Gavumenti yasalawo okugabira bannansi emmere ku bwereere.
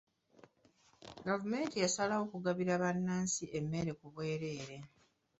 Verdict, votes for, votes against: accepted, 2, 1